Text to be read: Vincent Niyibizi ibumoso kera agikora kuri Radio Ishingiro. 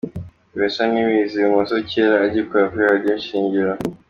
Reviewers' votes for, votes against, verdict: 2, 0, accepted